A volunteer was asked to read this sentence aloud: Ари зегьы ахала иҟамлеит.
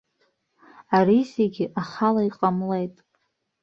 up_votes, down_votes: 2, 0